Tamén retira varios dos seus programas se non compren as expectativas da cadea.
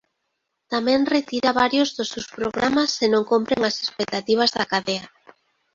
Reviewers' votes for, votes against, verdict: 0, 2, rejected